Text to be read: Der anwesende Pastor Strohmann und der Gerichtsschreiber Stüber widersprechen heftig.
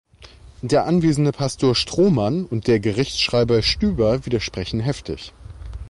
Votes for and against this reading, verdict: 2, 0, accepted